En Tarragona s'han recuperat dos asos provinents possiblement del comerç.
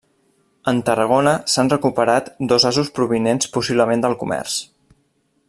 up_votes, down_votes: 3, 0